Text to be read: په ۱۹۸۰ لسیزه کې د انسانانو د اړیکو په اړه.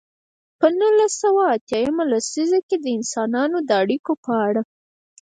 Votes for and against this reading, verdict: 0, 2, rejected